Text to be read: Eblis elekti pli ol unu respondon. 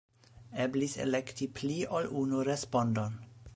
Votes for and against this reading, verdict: 3, 0, accepted